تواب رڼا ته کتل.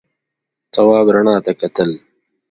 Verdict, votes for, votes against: accepted, 3, 0